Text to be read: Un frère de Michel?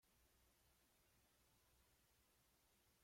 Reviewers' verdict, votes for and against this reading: rejected, 1, 2